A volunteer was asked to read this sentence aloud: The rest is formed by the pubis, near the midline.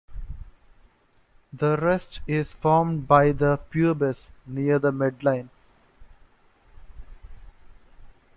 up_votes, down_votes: 2, 0